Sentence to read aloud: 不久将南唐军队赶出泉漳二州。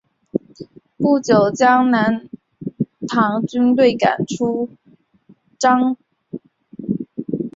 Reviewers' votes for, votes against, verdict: 1, 2, rejected